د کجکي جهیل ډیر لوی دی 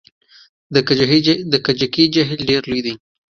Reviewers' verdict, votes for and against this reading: rejected, 1, 2